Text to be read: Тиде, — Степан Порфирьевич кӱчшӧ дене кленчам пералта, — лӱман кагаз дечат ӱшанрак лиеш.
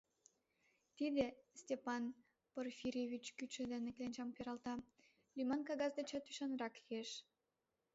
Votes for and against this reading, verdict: 1, 2, rejected